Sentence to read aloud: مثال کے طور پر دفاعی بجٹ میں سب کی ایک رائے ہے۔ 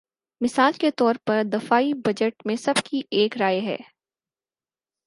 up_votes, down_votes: 4, 0